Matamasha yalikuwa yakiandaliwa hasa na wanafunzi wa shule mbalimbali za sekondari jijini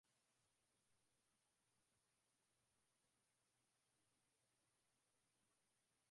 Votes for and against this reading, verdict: 0, 8, rejected